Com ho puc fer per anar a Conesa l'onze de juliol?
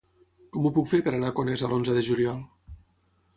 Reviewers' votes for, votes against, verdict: 3, 3, rejected